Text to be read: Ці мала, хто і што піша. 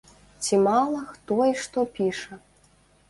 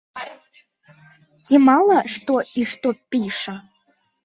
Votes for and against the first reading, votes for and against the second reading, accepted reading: 2, 0, 0, 2, first